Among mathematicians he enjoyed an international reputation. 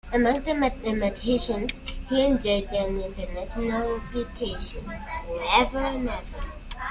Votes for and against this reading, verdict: 0, 2, rejected